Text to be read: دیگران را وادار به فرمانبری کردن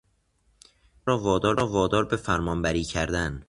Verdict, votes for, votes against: rejected, 0, 2